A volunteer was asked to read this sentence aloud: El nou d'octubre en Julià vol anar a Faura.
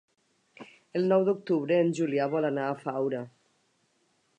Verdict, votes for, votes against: accepted, 3, 0